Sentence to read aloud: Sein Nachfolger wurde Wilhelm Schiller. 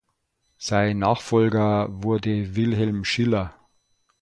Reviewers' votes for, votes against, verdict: 2, 0, accepted